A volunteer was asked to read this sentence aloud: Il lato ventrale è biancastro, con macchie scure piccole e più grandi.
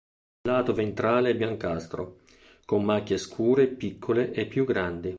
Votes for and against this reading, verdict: 1, 2, rejected